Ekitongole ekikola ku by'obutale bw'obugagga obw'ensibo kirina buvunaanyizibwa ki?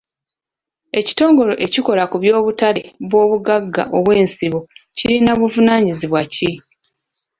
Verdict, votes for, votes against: accepted, 2, 1